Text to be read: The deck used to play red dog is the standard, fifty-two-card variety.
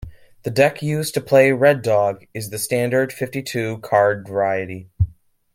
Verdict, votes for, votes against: accepted, 2, 0